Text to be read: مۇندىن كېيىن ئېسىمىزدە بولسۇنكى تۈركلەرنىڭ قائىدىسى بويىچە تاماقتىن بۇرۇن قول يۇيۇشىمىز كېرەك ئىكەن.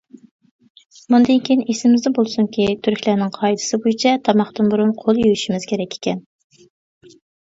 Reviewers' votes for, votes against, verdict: 2, 0, accepted